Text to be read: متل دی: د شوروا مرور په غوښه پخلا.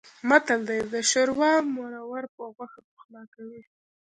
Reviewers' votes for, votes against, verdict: 2, 1, accepted